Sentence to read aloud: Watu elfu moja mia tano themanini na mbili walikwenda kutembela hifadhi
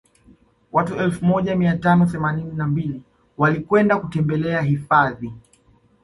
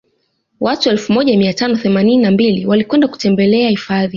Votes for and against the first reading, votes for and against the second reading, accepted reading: 2, 0, 0, 2, first